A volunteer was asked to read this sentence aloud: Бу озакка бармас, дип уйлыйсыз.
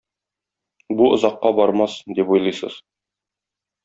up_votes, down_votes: 2, 0